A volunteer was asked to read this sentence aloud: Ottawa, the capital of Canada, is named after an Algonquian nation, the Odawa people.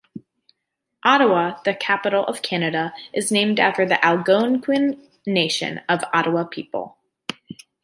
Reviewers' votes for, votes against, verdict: 2, 0, accepted